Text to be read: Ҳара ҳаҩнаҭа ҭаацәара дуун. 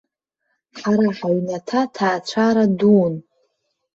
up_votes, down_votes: 1, 2